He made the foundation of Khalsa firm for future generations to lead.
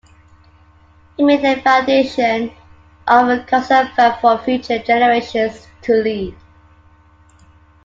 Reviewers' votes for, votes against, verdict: 2, 1, accepted